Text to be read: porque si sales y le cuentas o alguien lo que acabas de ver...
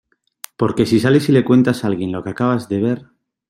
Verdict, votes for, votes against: accepted, 2, 0